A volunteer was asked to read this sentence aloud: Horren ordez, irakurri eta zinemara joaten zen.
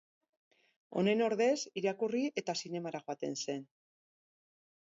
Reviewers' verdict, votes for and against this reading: rejected, 2, 4